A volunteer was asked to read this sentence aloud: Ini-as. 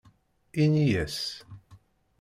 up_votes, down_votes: 2, 0